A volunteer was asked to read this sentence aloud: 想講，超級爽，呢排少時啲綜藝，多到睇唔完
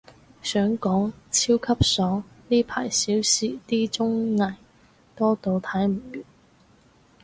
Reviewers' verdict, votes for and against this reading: rejected, 2, 2